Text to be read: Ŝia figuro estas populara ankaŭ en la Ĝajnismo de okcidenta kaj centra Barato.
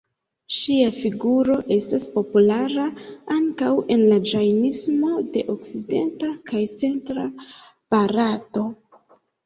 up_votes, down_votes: 2, 0